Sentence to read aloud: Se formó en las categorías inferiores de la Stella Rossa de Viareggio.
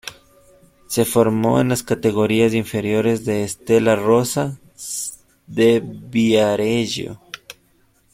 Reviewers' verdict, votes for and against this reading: rejected, 1, 2